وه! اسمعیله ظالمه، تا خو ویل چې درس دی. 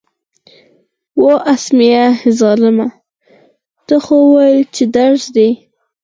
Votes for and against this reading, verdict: 0, 4, rejected